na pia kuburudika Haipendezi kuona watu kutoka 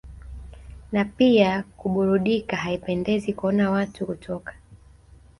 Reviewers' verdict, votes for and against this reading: rejected, 1, 2